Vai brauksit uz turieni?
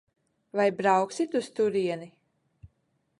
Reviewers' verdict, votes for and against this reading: accepted, 2, 0